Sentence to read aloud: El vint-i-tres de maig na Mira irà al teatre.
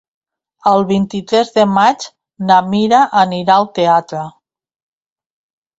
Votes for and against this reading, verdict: 0, 2, rejected